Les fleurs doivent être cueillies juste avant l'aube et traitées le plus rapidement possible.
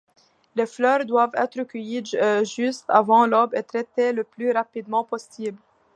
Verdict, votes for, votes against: rejected, 0, 2